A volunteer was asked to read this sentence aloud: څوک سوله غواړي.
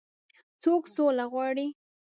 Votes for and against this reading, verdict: 1, 2, rejected